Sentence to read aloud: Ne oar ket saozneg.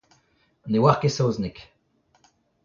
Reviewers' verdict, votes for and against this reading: rejected, 1, 2